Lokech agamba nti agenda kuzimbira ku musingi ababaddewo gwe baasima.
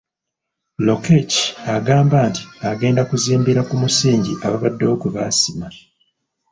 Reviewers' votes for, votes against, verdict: 2, 0, accepted